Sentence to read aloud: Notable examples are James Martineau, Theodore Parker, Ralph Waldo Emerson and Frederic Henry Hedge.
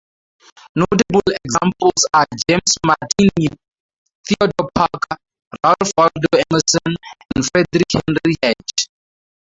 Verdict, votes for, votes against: rejected, 0, 2